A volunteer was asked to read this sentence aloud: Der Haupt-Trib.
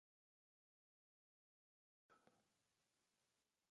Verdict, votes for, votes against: rejected, 0, 2